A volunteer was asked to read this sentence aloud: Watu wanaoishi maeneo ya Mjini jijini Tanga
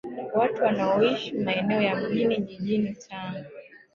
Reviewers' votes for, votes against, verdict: 0, 2, rejected